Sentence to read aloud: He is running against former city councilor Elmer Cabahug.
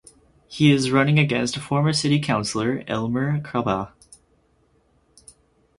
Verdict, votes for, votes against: accepted, 4, 2